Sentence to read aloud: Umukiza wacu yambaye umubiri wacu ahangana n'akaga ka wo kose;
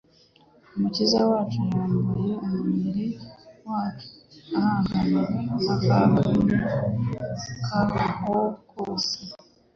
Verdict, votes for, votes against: rejected, 1, 2